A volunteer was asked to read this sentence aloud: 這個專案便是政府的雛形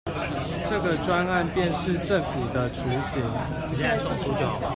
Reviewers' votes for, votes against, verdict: 1, 2, rejected